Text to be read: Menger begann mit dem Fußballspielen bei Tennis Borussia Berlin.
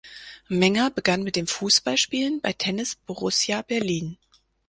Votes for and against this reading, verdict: 4, 0, accepted